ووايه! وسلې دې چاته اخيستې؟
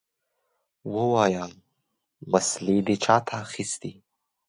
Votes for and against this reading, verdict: 2, 0, accepted